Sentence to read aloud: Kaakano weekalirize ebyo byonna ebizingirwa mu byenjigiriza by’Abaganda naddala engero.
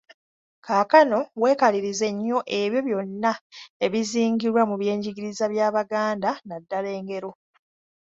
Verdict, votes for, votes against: rejected, 1, 2